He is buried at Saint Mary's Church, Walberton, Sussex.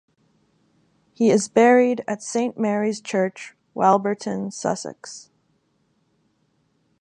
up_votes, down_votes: 2, 0